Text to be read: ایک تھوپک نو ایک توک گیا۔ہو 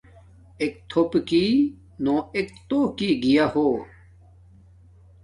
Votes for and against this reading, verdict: 2, 0, accepted